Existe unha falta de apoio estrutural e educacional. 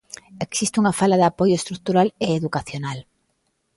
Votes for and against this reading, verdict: 0, 2, rejected